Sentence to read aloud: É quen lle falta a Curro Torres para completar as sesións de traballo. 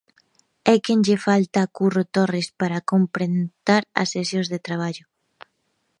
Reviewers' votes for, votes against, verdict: 0, 2, rejected